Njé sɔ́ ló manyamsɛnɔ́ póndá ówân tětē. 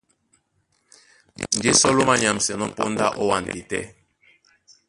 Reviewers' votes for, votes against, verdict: 1, 2, rejected